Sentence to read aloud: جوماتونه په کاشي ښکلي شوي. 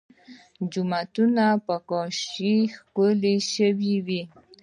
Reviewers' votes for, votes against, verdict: 1, 2, rejected